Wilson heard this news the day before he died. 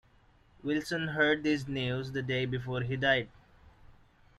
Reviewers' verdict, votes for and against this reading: accepted, 2, 0